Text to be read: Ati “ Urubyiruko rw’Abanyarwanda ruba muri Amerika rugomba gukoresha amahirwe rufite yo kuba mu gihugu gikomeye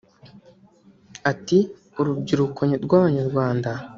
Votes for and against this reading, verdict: 0, 2, rejected